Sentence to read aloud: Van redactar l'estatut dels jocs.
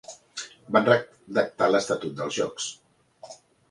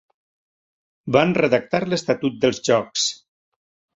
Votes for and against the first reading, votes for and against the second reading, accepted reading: 1, 2, 3, 0, second